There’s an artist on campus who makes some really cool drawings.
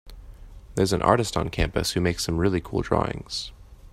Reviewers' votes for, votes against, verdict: 3, 0, accepted